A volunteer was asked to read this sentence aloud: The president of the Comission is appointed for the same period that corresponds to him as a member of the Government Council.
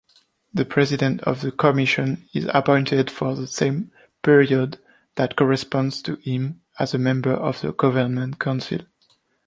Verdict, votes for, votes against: accepted, 2, 0